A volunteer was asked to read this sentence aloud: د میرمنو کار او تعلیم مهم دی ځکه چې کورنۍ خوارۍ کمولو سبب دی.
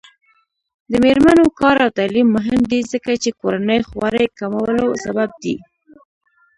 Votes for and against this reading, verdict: 1, 2, rejected